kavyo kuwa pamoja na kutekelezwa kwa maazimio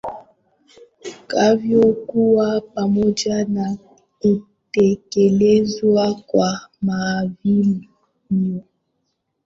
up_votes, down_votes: 0, 2